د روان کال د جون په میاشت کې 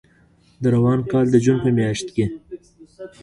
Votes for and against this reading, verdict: 1, 2, rejected